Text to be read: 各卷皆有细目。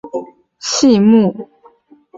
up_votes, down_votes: 2, 4